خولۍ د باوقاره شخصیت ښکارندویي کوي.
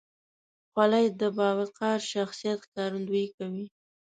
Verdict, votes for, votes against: accepted, 2, 0